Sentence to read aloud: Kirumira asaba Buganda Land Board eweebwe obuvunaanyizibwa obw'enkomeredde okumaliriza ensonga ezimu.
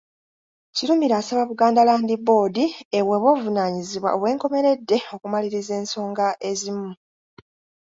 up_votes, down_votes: 0, 2